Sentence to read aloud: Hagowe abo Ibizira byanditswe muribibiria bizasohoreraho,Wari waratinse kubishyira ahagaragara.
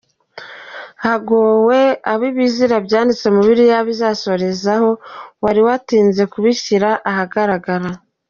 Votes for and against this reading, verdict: 1, 2, rejected